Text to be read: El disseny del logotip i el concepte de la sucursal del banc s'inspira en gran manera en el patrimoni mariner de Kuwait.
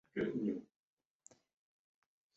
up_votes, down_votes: 0, 3